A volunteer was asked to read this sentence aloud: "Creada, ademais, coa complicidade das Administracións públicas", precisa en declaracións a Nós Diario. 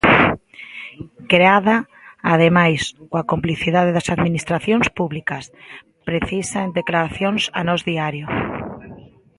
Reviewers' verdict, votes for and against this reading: accepted, 2, 0